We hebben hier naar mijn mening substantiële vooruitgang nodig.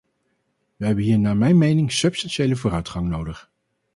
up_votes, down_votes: 2, 0